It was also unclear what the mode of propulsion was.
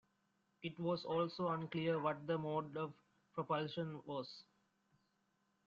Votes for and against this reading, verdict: 0, 2, rejected